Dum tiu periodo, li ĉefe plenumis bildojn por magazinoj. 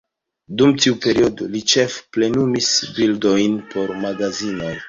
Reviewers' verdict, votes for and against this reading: rejected, 1, 2